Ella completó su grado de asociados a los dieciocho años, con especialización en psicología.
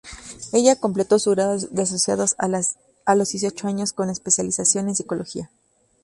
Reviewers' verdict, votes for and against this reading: rejected, 0, 2